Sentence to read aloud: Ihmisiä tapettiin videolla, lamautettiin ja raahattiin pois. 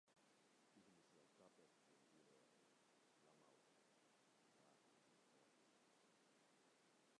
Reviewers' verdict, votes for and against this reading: rejected, 0, 2